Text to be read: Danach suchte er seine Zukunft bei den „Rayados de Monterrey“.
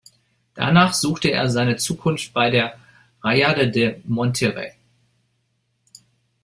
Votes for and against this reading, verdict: 0, 2, rejected